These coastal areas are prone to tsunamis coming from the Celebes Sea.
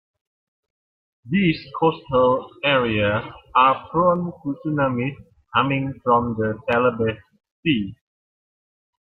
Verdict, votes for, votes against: rejected, 1, 2